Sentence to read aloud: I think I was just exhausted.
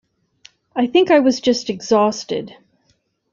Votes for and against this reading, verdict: 2, 0, accepted